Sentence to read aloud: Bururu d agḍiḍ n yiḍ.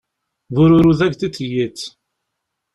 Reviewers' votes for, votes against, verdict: 0, 2, rejected